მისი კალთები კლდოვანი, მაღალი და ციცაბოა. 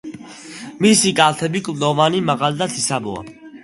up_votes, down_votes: 2, 0